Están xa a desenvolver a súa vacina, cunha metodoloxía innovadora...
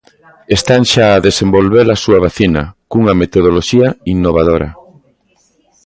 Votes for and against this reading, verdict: 1, 2, rejected